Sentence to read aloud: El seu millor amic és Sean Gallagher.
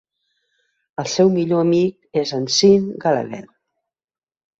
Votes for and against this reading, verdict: 0, 2, rejected